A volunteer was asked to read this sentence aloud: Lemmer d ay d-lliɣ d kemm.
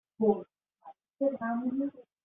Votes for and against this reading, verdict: 1, 2, rejected